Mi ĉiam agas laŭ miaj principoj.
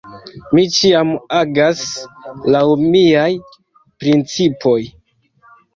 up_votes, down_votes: 2, 0